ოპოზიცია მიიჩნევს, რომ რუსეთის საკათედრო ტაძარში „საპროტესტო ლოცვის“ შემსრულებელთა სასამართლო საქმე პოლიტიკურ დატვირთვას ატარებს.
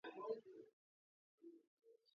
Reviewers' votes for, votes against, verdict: 0, 2, rejected